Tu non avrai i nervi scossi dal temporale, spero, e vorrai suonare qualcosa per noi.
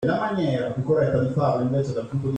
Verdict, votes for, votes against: rejected, 0, 2